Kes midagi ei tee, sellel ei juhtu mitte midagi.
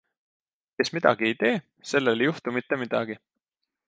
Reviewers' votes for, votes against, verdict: 2, 0, accepted